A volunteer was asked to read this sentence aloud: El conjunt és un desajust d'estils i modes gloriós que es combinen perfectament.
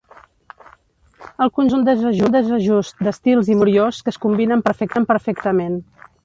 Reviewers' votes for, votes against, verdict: 0, 2, rejected